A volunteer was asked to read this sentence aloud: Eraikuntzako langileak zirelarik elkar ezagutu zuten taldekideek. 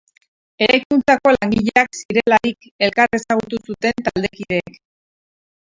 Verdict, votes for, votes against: rejected, 0, 4